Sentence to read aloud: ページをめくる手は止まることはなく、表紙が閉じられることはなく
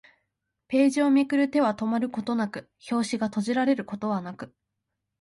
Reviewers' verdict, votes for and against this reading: accepted, 2, 0